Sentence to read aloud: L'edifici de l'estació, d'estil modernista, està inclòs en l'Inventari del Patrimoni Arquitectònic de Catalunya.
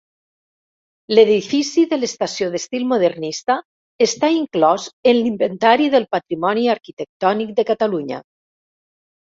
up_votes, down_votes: 3, 0